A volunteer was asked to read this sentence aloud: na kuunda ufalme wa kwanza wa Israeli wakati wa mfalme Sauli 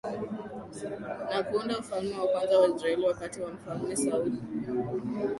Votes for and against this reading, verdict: 6, 1, accepted